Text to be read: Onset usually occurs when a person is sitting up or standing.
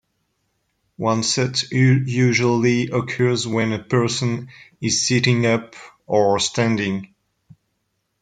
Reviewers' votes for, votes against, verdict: 0, 2, rejected